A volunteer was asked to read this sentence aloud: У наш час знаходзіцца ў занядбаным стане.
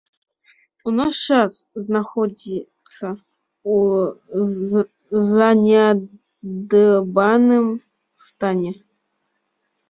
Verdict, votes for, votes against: rejected, 0, 2